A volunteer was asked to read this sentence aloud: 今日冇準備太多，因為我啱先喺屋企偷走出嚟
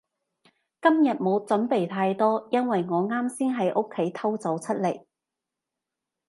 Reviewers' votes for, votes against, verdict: 3, 0, accepted